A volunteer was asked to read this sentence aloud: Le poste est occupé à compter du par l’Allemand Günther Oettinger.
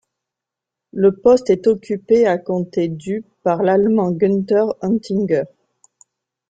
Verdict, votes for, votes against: accepted, 2, 0